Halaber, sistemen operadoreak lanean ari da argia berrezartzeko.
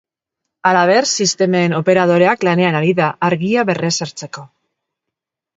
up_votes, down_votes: 2, 1